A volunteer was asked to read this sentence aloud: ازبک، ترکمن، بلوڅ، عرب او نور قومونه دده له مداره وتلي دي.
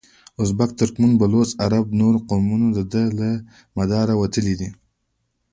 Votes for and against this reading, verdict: 1, 2, rejected